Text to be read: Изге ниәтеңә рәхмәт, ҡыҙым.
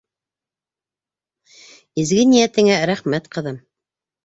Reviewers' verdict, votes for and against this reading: accepted, 2, 0